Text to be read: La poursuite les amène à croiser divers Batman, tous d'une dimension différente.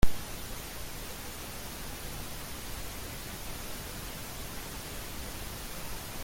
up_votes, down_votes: 0, 2